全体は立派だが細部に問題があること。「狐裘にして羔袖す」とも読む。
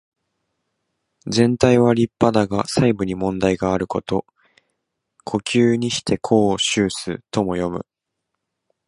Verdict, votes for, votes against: accepted, 2, 0